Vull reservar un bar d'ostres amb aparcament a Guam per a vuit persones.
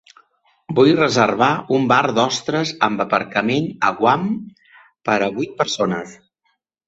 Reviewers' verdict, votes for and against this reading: accepted, 5, 0